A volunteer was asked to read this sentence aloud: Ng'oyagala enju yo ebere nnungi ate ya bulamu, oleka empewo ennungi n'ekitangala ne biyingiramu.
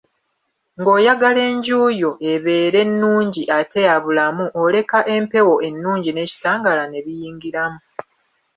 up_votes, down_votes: 0, 2